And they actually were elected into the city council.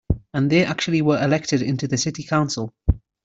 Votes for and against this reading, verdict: 2, 0, accepted